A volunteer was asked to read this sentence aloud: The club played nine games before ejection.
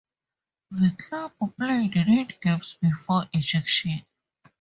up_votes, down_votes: 2, 2